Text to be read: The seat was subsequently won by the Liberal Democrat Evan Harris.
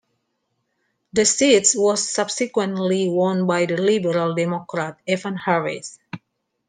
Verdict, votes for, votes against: accepted, 2, 1